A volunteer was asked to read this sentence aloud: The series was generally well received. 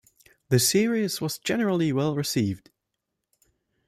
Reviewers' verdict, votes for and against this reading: accepted, 2, 0